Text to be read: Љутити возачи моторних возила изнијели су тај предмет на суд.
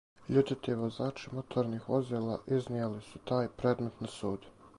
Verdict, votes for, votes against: accepted, 4, 0